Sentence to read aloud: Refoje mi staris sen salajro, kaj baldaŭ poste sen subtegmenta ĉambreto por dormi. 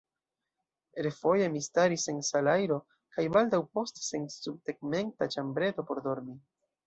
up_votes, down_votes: 0, 2